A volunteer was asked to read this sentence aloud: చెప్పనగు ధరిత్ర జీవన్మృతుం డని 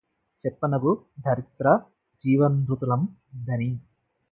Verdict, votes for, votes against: rejected, 0, 4